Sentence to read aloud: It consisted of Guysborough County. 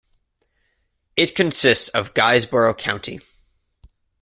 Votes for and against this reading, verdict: 1, 2, rejected